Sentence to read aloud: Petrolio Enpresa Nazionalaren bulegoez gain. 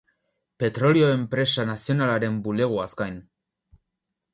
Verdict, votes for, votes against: rejected, 2, 2